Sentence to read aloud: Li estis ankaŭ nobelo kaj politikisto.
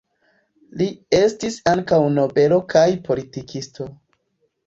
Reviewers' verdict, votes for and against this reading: accepted, 2, 0